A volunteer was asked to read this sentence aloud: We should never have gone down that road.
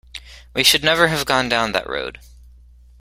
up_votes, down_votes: 2, 0